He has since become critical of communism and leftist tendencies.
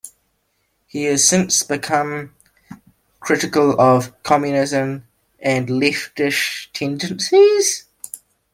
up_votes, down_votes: 0, 2